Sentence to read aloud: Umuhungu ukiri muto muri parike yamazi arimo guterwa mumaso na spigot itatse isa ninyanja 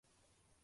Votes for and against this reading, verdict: 0, 2, rejected